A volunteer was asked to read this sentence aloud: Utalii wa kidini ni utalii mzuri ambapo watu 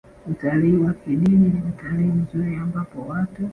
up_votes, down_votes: 0, 3